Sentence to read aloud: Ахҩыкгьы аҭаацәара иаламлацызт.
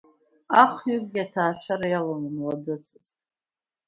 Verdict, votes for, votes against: rejected, 0, 2